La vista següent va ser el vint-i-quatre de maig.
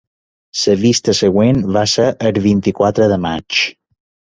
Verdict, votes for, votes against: accepted, 2, 1